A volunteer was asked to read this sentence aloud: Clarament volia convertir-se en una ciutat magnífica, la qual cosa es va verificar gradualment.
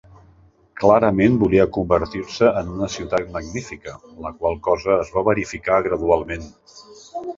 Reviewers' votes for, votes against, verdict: 2, 0, accepted